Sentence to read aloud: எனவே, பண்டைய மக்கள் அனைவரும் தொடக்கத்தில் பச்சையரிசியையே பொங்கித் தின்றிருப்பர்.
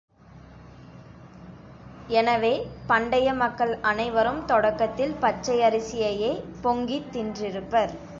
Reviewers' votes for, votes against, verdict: 2, 0, accepted